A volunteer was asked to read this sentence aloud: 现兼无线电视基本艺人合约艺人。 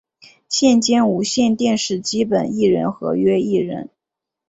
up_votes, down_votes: 3, 0